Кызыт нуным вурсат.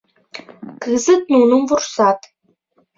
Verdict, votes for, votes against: accepted, 4, 0